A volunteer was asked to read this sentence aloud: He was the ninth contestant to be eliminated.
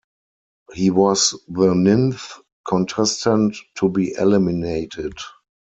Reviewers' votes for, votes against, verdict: 2, 4, rejected